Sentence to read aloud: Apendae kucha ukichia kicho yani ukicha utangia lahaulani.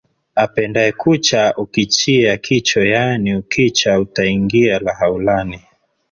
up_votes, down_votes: 8, 1